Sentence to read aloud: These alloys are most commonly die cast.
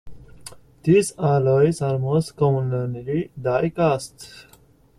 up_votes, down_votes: 1, 2